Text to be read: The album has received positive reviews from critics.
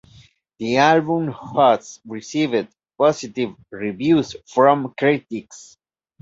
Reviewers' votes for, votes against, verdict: 2, 1, accepted